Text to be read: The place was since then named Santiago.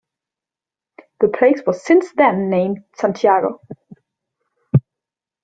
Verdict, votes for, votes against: accepted, 2, 0